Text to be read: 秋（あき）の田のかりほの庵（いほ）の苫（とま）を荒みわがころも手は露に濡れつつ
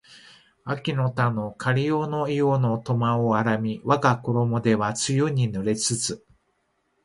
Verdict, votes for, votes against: accepted, 2, 1